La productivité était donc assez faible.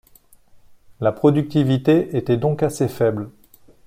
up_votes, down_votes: 2, 0